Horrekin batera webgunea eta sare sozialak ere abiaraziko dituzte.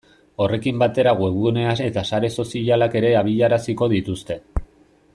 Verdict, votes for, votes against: rejected, 1, 2